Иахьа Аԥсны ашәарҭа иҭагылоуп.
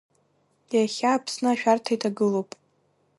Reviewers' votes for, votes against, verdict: 2, 1, accepted